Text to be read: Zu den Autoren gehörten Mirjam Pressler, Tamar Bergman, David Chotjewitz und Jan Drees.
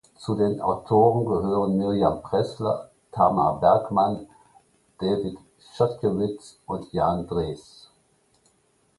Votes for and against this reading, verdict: 0, 2, rejected